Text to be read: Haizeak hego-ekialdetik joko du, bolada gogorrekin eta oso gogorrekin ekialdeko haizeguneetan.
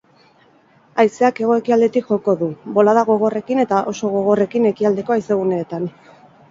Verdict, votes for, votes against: accepted, 6, 0